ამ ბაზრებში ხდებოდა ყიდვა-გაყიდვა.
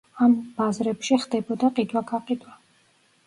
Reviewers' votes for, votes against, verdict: 2, 0, accepted